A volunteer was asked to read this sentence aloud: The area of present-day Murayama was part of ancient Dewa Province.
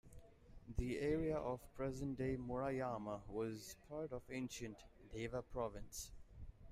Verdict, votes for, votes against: accepted, 2, 0